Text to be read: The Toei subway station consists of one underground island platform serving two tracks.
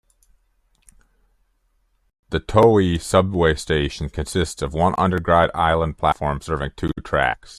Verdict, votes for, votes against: accepted, 2, 1